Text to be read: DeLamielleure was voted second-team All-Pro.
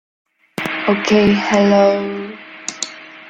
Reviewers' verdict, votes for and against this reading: rejected, 0, 2